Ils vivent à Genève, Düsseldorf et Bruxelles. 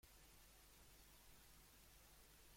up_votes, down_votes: 1, 2